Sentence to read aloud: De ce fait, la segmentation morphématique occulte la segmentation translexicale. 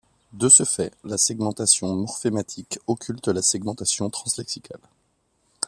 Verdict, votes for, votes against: accepted, 2, 0